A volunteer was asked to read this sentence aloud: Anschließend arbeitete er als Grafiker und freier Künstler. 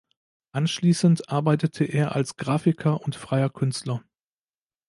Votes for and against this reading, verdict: 2, 0, accepted